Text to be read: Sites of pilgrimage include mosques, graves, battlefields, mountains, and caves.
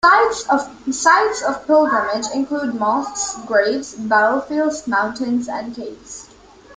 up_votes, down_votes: 0, 2